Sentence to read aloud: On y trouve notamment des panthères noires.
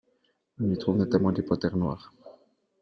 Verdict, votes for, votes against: accepted, 2, 0